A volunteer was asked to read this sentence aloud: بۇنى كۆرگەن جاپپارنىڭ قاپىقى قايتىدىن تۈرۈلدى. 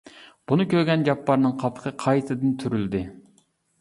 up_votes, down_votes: 2, 0